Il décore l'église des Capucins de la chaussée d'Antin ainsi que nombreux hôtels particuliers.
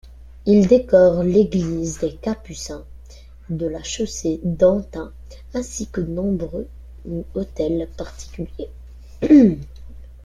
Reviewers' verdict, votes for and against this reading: rejected, 0, 2